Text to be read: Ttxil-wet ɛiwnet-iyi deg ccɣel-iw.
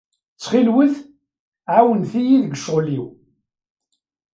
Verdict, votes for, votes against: rejected, 1, 2